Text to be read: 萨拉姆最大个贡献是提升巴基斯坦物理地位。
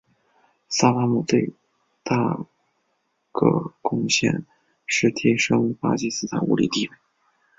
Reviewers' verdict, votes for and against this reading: accepted, 2, 1